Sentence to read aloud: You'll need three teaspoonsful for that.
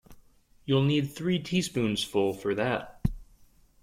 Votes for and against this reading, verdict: 2, 0, accepted